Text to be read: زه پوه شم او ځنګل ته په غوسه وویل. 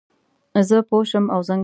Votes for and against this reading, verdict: 0, 2, rejected